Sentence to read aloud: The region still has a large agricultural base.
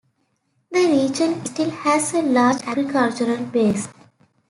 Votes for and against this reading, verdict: 0, 2, rejected